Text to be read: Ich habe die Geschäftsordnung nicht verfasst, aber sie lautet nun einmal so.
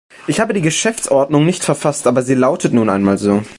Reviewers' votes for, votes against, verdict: 3, 0, accepted